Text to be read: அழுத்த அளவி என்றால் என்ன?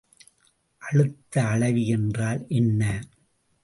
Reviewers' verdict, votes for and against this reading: accepted, 2, 0